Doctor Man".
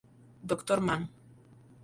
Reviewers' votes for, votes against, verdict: 0, 2, rejected